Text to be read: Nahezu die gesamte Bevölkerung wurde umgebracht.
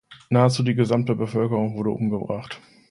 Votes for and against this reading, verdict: 2, 0, accepted